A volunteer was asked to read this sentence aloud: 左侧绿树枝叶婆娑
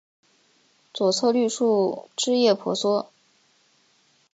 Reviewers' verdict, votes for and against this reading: accepted, 2, 0